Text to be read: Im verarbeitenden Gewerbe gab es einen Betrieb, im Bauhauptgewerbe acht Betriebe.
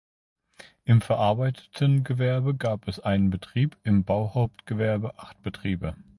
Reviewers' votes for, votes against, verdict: 0, 2, rejected